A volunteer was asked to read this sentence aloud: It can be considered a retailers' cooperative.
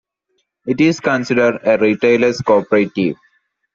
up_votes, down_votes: 1, 2